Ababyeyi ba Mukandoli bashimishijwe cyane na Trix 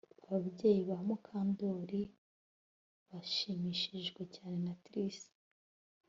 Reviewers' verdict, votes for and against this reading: accepted, 2, 0